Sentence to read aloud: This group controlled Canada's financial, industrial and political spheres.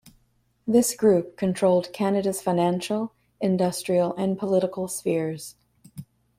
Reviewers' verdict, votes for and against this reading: accepted, 2, 0